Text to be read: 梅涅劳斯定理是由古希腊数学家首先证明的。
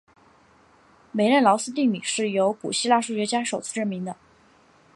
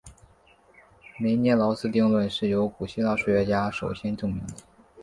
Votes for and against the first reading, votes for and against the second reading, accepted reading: 0, 2, 2, 1, second